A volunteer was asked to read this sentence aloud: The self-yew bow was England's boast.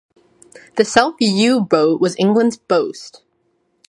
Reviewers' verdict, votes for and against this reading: accepted, 2, 0